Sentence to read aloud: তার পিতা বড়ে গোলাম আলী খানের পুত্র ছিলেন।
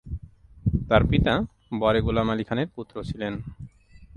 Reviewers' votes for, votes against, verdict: 2, 0, accepted